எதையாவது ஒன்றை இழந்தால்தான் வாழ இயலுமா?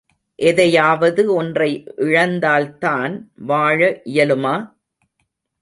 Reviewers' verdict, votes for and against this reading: accepted, 2, 0